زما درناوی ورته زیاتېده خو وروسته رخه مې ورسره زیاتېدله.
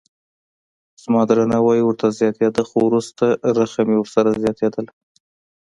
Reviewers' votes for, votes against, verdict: 2, 0, accepted